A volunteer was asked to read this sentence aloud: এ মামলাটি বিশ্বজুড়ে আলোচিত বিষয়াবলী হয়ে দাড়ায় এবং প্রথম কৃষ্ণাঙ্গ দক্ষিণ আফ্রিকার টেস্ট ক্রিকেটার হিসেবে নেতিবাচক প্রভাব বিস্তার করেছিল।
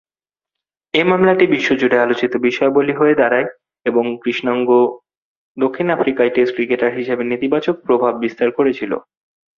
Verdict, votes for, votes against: rejected, 3, 3